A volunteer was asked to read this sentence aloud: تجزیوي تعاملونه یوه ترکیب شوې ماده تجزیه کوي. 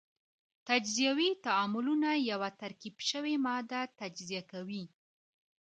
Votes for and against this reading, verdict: 2, 0, accepted